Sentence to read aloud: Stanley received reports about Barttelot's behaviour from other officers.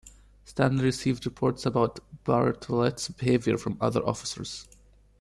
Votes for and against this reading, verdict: 1, 2, rejected